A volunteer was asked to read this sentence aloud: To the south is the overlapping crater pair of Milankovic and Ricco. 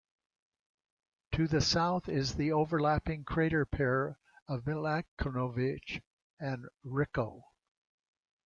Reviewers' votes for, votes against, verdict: 2, 0, accepted